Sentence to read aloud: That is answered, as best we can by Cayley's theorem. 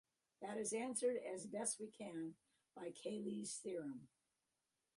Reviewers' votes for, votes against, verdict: 2, 1, accepted